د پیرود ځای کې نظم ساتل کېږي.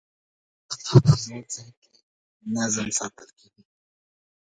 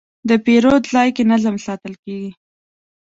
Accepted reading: second